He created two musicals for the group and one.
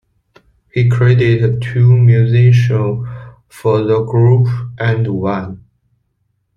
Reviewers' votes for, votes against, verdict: 0, 2, rejected